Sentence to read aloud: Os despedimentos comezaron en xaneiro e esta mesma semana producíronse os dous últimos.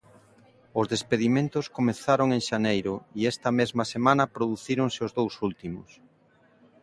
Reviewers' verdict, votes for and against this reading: accepted, 2, 0